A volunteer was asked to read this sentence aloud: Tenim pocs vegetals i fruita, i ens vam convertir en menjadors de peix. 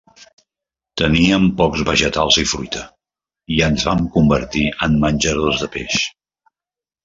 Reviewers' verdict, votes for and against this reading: rejected, 0, 2